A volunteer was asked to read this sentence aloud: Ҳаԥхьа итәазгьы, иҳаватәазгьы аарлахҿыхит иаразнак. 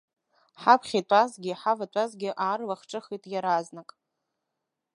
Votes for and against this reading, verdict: 2, 0, accepted